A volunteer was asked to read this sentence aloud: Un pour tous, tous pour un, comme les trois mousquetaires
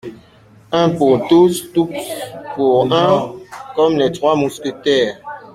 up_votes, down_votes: 1, 2